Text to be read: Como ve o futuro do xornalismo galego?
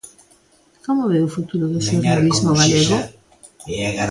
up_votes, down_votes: 0, 3